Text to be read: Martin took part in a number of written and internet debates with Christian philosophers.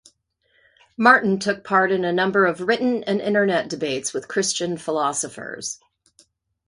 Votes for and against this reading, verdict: 2, 1, accepted